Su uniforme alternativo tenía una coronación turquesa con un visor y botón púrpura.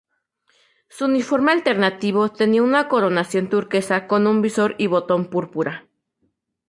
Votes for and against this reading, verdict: 4, 0, accepted